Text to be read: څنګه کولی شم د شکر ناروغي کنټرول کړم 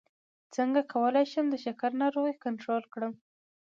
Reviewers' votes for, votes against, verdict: 2, 0, accepted